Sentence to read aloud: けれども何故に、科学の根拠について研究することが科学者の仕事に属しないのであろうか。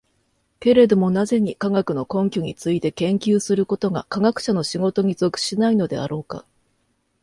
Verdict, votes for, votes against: accepted, 2, 0